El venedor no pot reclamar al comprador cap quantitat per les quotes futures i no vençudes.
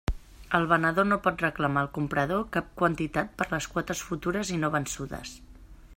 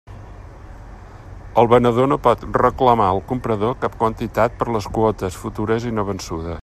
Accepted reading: first